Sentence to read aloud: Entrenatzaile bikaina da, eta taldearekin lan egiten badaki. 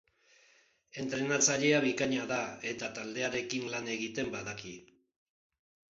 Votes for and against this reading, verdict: 0, 4, rejected